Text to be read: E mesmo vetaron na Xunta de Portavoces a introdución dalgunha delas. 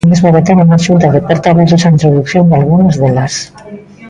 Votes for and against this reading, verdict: 0, 2, rejected